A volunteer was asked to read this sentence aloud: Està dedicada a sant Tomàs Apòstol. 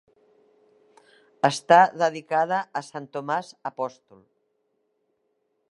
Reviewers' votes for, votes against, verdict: 3, 0, accepted